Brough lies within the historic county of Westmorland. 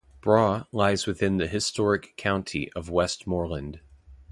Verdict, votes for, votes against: accepted, 2, 0